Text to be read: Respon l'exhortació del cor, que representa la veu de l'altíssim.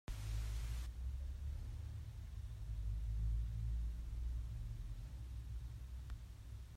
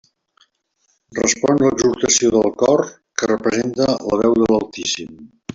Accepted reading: second